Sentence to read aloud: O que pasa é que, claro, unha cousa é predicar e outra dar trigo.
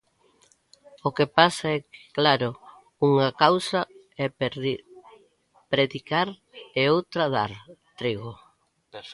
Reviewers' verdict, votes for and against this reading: rejected, 0, 2